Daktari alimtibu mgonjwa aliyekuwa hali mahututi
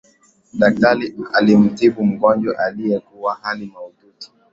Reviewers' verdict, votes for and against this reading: accepted, 2, 1